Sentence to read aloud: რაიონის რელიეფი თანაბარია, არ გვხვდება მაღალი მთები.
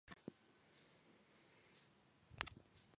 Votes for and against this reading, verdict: 0, 2, rejected